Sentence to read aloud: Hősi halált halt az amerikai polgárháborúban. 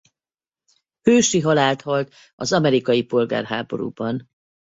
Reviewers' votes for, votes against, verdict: 4, 0, accepted